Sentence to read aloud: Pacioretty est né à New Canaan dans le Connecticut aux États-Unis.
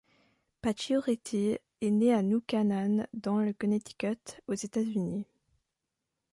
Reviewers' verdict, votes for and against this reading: accepted, 2, 0